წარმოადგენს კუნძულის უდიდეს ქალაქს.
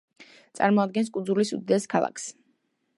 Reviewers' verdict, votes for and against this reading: accepted, 2, 0